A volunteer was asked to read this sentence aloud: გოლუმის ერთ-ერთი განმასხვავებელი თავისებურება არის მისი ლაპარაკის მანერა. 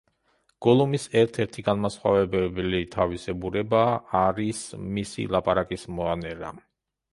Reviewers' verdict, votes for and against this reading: rejected, 0, 2